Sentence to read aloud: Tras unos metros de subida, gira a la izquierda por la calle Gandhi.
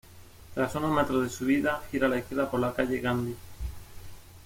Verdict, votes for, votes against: accepted, 2, 0